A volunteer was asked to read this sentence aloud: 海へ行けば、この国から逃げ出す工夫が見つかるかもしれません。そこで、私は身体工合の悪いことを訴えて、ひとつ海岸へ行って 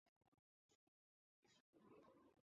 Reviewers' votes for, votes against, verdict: 0, 2, rejected